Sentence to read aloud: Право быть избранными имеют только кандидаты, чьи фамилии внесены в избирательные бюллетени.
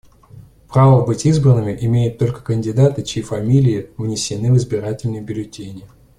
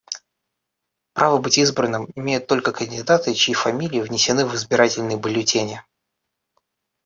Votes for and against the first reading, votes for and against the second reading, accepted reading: 2, 0, 1, 2, first